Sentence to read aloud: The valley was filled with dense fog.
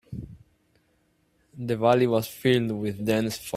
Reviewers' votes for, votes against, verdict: 0, 2, rejected